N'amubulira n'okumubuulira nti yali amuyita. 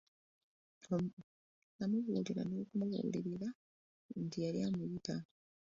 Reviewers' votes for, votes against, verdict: 1, 2, rejected